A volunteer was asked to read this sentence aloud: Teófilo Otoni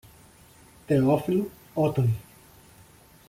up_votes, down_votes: 0, 2